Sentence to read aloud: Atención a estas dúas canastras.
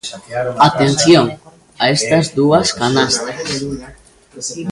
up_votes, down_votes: 0, 2